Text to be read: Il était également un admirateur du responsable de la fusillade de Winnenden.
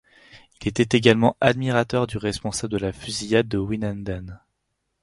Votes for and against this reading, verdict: 2, 4, rejected